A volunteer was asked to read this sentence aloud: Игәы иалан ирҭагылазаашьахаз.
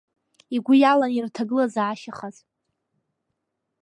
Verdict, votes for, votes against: accepted, 2, 0